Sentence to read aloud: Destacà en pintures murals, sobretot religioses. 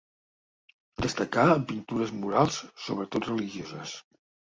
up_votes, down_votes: 2, 0